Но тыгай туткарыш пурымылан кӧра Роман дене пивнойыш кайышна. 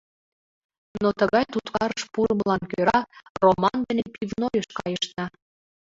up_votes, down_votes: 2, 1